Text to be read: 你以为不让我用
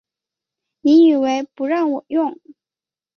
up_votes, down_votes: 6, 0